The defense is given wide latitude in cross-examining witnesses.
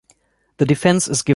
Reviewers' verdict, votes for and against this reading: rejected, 0, 2